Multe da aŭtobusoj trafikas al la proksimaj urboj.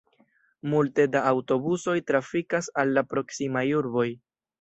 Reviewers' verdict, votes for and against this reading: rejected, 2, 3